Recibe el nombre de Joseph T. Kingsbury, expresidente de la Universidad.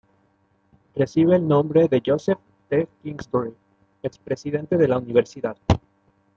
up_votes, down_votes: 2, 0